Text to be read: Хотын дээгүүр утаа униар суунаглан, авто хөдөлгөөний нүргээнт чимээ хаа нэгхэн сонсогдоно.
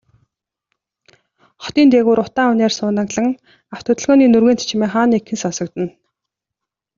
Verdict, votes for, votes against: accepted, 2, 0